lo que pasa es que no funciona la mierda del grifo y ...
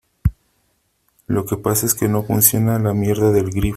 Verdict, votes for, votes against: rejected, 0, 2